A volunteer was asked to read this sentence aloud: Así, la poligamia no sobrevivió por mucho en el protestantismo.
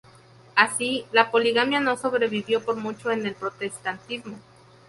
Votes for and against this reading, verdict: 0, 2, rejected